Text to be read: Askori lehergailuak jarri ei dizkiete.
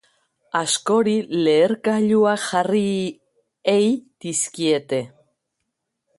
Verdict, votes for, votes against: accepted, 3, 0